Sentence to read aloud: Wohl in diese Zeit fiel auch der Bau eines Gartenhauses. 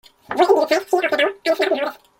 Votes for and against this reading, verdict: 0, 2, rejected